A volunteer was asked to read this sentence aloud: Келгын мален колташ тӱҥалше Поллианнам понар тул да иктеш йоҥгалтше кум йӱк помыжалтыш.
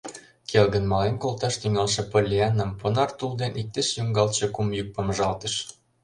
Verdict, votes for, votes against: rejected, 1, 2